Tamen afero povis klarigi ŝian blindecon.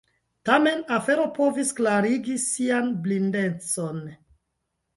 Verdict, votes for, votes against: rejected, 0, 2